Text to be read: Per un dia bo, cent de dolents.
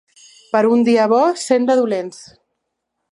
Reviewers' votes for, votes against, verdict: 2, 0, accepted